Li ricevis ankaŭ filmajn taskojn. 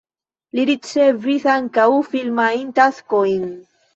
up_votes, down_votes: 0, 2